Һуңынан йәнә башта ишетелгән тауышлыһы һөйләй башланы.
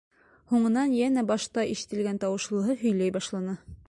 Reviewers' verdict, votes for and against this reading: accepted, 2, 0